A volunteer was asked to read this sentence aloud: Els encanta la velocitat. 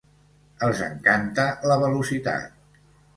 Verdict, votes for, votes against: accepted, 2, 0